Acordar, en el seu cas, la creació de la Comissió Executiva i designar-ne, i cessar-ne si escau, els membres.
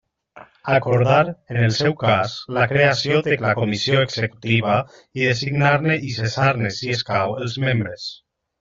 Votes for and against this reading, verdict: 2, 1, accepted